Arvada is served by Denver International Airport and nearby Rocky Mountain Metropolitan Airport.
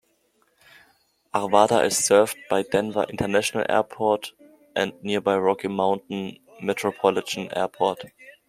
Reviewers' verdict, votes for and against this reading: accepted, 2, 0